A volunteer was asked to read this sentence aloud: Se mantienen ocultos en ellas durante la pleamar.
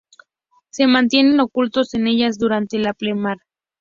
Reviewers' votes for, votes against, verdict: 2, 0, accepted